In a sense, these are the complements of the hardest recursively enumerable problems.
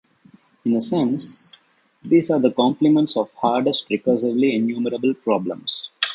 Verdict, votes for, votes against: rejected, 1, 2